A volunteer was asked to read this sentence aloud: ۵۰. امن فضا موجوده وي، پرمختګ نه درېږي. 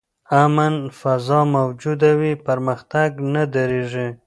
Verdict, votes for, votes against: rejected, 0, 2